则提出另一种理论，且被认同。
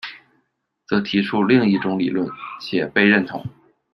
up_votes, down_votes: 2, 0